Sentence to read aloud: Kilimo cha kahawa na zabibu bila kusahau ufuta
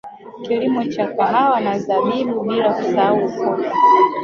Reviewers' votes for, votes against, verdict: 2, 1, accepted